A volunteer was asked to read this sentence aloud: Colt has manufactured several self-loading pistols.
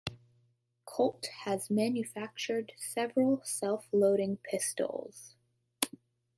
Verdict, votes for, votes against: rejected, 1, 2